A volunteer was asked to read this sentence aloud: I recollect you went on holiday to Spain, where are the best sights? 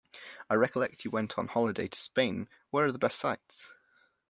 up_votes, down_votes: 2, 0